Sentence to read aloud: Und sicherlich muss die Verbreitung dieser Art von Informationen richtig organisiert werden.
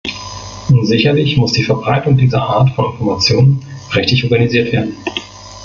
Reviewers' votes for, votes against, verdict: 0, 2, rejected